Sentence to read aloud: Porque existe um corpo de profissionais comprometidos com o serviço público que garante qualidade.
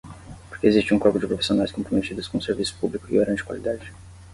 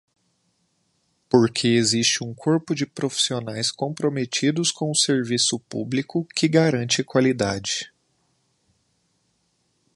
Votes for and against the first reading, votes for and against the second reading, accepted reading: 5, 5, 2, 0, second